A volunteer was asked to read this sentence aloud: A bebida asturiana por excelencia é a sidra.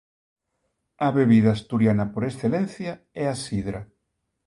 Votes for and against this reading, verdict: 2, 0, accepted